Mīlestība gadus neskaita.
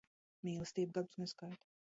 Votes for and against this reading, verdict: 0, 2, rejected